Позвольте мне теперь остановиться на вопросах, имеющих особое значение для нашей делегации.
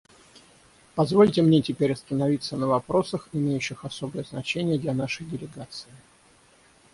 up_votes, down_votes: 3, 3